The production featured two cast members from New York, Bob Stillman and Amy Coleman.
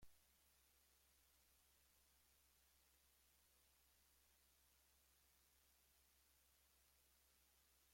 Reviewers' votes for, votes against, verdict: 1, 2, rejected